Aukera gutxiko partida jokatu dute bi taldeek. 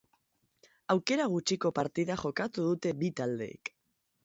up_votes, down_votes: 2, 0